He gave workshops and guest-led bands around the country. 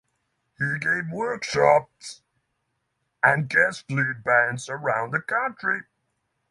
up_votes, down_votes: 6, 3